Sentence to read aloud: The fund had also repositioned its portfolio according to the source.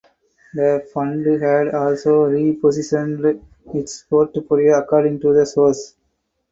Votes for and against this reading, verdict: 4, 2, accepted